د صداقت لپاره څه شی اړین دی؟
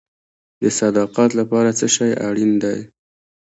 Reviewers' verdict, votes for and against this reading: rejected, 0, 2